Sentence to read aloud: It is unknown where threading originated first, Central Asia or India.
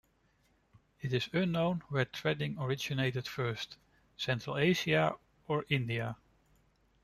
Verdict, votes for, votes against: rejected, 0, 2